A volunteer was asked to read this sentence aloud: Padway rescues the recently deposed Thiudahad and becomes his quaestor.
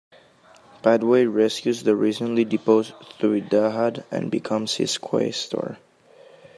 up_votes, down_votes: 2, 0